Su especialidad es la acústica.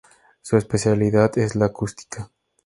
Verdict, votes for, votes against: accepted, 6, 0